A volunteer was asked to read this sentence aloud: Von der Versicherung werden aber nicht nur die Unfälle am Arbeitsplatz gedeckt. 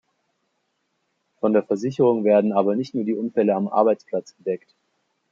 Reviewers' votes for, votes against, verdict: 2, 0, accepted